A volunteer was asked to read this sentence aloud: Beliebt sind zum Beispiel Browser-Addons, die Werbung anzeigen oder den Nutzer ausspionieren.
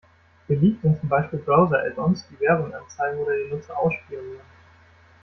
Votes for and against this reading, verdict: 1, 2, rejected